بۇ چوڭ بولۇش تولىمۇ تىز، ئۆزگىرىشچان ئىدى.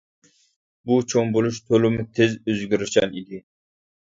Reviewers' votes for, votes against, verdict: 2, 1, accepted